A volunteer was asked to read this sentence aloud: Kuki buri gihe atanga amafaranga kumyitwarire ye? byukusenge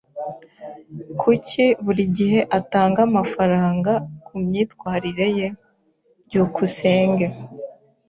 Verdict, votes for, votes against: accepted, 2, 0